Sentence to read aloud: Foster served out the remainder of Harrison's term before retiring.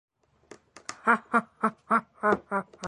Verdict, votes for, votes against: rejected, 0, 2